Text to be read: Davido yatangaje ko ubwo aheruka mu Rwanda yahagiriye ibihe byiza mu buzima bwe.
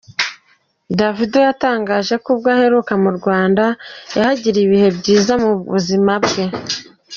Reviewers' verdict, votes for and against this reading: accepted, 2, 1